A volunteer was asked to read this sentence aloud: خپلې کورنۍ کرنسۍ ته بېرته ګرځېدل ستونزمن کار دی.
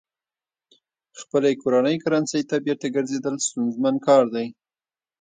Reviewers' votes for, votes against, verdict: 1, 2, rejected